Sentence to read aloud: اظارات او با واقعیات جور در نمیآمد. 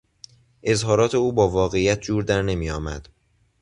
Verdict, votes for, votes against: rejected, 0, 2